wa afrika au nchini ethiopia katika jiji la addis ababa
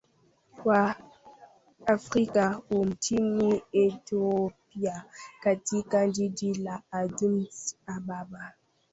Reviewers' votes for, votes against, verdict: 0, 2, rejected